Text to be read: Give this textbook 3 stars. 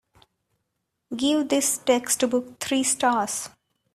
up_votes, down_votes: 0, 2